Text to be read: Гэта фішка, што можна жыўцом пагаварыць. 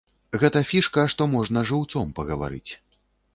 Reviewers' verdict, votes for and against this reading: accepted, 2, 0